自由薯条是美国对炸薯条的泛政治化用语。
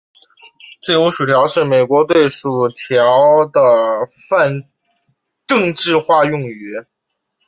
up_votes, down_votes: 7, 1